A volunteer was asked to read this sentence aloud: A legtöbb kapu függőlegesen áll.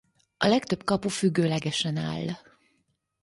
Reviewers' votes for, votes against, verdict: 4, 0, accepted